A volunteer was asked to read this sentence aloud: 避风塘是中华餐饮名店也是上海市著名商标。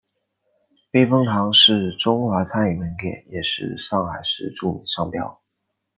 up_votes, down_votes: 2, 0